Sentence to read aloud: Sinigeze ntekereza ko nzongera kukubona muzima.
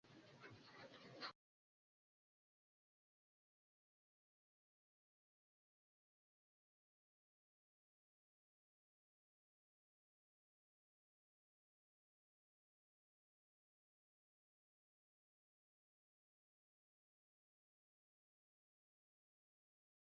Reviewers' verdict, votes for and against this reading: rejected, 0, 2